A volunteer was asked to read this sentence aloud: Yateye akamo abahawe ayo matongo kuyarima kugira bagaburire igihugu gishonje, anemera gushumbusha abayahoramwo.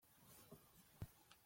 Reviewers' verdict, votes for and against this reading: rejected, 0, 2